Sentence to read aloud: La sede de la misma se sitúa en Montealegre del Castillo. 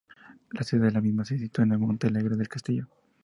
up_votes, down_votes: 2, 0